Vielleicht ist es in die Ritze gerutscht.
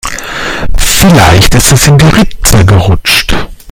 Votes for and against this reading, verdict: 1, 2, rejected